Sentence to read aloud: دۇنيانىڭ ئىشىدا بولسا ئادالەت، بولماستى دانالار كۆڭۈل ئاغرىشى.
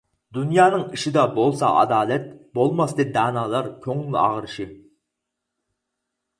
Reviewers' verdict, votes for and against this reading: accepted, 4, 0